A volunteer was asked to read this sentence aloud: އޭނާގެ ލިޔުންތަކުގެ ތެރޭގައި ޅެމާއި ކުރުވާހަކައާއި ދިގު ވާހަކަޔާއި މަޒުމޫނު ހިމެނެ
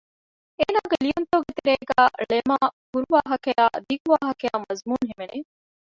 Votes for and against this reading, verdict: 0, 2, rejected